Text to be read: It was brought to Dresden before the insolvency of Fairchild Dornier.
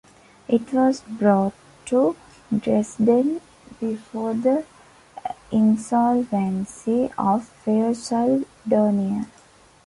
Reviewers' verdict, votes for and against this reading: accepted, 2, 0